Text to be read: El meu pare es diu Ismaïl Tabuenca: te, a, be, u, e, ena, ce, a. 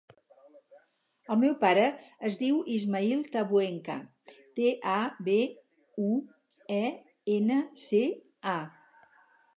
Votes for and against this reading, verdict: 4, 0, accepted